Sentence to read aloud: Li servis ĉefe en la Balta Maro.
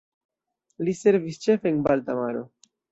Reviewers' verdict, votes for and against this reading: accepted, 2, 1